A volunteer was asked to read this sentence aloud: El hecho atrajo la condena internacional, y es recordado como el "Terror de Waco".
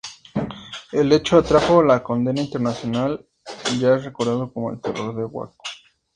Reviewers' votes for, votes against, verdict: 2, 0, accepted